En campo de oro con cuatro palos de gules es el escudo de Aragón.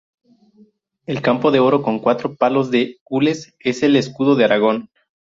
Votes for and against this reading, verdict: 0, 2, rejected